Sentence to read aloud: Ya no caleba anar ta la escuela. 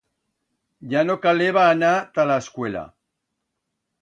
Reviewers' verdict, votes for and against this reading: accepted, 2, 0